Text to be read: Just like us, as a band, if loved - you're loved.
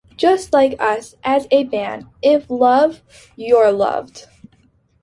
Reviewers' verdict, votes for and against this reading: accepted, 2, 0